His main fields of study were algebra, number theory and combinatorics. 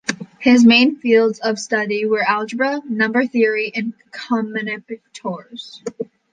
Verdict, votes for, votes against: rejected, 1, 2